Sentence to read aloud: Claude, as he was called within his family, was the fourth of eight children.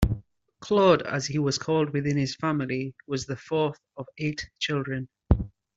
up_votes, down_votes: 2, 0